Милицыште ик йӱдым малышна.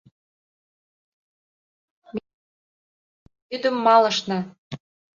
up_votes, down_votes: 0, 2